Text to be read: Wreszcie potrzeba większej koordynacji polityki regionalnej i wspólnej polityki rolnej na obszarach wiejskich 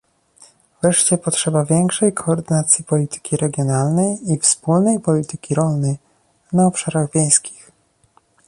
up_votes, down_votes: 2, 0